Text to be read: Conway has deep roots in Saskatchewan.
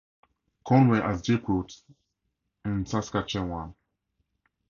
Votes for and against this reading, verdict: 2, 2, rejected